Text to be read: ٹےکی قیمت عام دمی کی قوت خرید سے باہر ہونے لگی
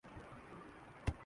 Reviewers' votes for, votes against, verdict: 1, 5, rejected